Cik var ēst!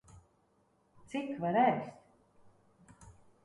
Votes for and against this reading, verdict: 1, 2, rejected